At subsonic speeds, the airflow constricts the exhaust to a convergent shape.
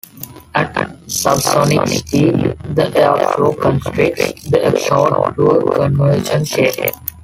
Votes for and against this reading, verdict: 1, 2, rejected